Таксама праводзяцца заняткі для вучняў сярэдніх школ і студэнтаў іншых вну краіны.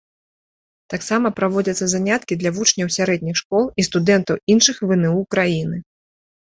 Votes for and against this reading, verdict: 2, 1, accepted